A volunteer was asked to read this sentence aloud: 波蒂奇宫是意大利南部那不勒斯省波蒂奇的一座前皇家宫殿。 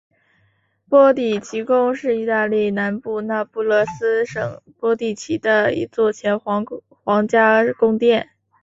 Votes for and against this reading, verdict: 1, 3, rejected